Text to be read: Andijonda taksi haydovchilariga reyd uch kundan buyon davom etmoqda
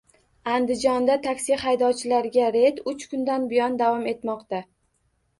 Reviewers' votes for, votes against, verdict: 2, 0, accepted